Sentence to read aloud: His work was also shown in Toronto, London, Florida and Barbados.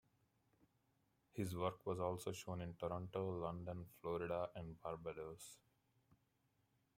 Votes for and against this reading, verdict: 0, 2, rejected